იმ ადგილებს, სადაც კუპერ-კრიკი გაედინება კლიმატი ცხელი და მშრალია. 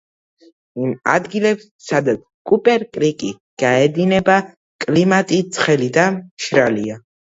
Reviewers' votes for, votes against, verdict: 2, 0, accepted